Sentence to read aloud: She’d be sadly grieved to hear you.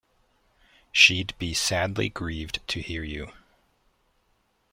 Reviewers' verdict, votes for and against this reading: accepted, 2, 0